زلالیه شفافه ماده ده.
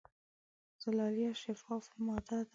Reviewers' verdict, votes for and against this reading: accepted, 2, 0